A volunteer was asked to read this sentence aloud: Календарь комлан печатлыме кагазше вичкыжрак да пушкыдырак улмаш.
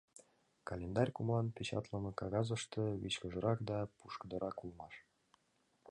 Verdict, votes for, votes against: rejected, 1, 2